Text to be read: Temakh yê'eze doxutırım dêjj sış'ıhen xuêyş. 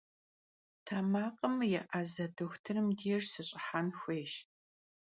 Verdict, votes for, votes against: rejected, 1, 2